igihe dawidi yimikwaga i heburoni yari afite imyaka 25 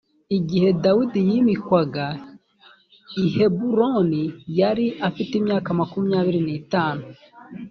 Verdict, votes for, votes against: rejected, 0, 2